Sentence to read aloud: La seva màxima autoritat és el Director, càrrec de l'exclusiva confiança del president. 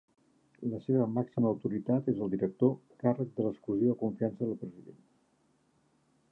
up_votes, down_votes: 2, 0